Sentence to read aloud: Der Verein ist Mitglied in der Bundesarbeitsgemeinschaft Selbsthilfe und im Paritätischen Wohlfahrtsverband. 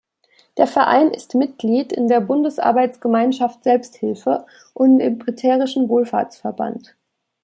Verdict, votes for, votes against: rejected, 0, 2